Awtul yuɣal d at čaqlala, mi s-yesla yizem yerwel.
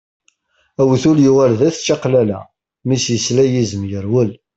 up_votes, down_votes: 2, 0